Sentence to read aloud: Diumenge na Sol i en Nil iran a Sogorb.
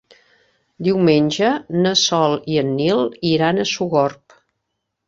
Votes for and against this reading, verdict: 2, 0, accepted